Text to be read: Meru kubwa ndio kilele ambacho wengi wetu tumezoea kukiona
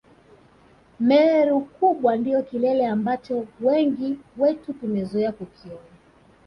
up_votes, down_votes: 3, 0